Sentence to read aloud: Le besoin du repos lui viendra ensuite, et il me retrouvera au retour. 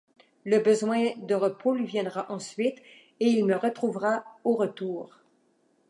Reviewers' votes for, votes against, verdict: 1, 2, rejected